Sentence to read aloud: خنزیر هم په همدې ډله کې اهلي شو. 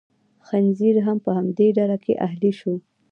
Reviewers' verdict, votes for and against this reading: accepted, 2, 0